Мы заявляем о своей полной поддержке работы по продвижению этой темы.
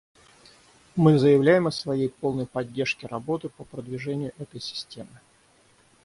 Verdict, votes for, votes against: rejected, 3, 6